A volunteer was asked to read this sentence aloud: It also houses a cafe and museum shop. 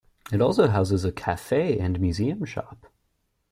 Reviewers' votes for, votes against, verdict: 2, 0, accepted